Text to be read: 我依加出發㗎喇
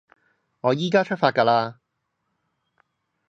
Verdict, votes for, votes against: accepted, 2, 0